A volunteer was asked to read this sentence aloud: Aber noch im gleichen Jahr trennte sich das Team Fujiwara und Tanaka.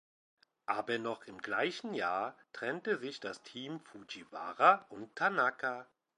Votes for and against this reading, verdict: 2, 0, accepted